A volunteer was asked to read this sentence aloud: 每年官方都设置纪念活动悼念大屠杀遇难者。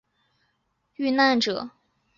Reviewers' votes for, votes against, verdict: 0, 2, rejected